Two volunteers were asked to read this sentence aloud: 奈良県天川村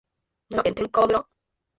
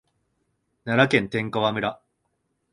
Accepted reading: second